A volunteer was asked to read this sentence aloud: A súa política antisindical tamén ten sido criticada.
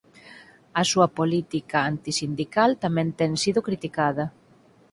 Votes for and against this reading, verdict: 4, 0, accepted